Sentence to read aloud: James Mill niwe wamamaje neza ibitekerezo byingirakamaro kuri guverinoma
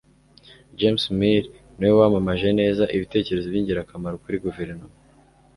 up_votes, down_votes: 2, 0